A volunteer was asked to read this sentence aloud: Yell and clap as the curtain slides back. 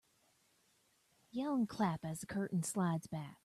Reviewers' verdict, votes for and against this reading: accepted, 2, 0